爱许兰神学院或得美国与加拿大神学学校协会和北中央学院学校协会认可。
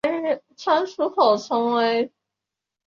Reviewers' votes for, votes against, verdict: 1, 3, rejected